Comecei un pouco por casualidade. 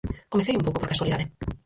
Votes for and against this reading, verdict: 0, 4, rejected